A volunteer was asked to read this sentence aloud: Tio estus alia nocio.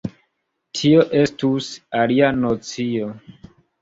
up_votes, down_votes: 3, 0